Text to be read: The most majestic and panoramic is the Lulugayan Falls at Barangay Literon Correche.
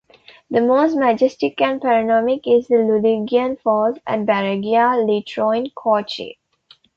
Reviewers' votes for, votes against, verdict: 1, 2, rejected